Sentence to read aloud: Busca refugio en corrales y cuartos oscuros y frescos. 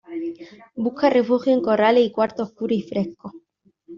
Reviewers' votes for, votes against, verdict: 2, 1, accepted